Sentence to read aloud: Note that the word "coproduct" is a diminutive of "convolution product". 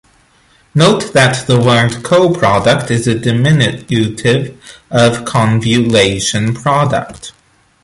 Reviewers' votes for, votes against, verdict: 2, 0, accepted